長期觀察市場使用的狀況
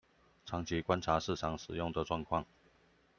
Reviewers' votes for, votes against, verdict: 2, 0, accepted